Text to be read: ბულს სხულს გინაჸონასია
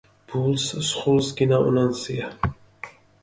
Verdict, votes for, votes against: rejected, 0, 2